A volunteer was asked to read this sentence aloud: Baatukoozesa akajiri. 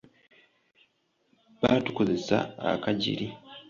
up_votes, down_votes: 2, 0